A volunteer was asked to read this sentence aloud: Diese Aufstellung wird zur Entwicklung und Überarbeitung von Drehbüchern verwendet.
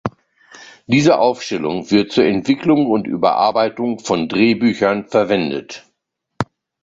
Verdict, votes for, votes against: accepted, 2, 0